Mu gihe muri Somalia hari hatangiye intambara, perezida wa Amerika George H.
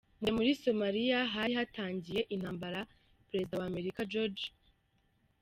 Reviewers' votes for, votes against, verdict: 0, 2, rejected